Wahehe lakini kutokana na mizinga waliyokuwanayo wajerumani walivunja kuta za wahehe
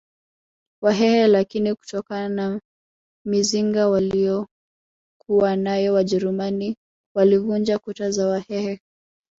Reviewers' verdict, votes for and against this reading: rejected, 1, 2